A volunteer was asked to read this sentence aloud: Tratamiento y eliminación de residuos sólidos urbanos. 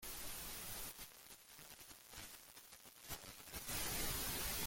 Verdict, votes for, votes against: rejected, 0, 2